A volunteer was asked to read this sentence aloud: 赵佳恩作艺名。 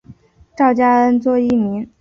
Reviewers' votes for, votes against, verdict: 3, 0, accepted